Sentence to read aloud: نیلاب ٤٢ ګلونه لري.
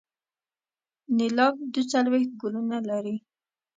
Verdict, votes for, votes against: rejected, 0, 2